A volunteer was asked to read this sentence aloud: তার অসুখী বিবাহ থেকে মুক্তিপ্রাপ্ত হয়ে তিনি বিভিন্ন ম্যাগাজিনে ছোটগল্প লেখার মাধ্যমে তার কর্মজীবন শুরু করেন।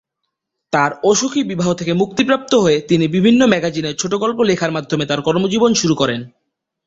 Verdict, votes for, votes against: accepted, 3, 0